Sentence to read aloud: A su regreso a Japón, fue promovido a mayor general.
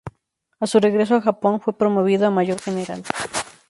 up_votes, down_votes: 4, 0